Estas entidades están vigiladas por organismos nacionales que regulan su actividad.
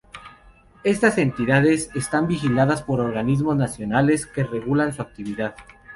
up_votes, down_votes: 0, 2